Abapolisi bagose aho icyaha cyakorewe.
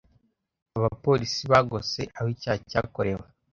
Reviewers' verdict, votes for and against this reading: accepted, 2, 0